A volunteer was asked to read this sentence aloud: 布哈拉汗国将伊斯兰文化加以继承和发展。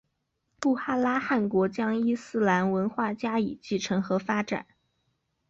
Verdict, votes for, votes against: accepted, 2, 1